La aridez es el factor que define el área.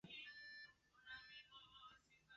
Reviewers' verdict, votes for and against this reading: rejected, 0, 2